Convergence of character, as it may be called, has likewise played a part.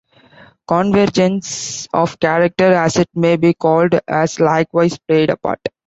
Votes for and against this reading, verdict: 2, 1, accepted